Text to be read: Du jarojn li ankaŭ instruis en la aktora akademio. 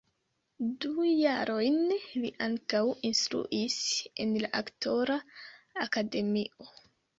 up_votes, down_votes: 0, 2